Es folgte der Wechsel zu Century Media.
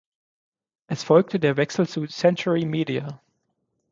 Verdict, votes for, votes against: accepted, 6, 0